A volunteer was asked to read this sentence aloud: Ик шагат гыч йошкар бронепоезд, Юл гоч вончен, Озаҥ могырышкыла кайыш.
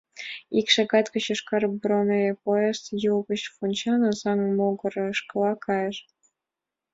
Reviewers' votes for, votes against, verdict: 2, 0, accepted